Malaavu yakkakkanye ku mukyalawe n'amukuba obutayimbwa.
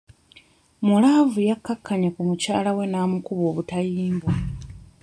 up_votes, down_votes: 0, 2